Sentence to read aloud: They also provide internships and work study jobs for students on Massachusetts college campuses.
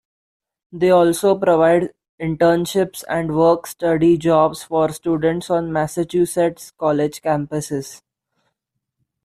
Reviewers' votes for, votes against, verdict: 2, 0, accepted